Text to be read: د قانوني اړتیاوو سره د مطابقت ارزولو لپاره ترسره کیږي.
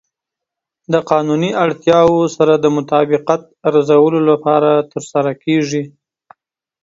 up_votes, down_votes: 1, 2